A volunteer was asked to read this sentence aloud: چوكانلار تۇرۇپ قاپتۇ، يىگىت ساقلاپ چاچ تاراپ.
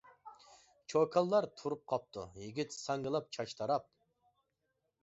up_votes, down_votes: 1, 2